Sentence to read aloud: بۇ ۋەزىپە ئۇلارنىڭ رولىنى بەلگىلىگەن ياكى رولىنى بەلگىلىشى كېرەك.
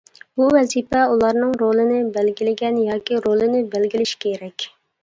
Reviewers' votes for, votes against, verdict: 2, 0, accepted